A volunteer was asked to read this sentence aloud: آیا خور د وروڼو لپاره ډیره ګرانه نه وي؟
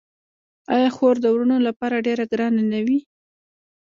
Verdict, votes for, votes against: rejected, 1, 2